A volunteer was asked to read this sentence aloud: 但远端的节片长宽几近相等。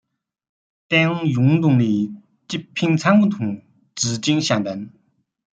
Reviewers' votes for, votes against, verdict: 0, 2, rejected